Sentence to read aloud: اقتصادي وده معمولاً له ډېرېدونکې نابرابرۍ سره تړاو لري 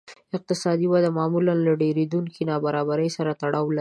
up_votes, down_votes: 0, 2